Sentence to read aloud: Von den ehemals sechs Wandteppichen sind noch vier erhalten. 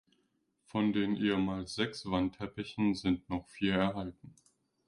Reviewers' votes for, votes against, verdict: 2, 0, accepted